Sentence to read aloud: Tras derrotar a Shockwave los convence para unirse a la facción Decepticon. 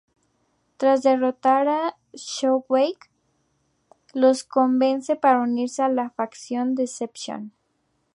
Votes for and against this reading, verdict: 2, 0, accepted